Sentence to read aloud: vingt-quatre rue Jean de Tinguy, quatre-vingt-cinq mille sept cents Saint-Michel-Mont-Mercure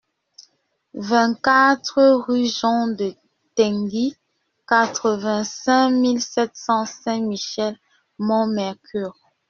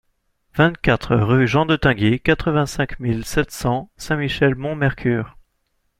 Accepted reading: second